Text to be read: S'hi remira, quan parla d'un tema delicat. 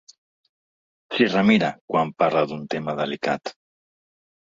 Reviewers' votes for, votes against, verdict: 2, 1, accepted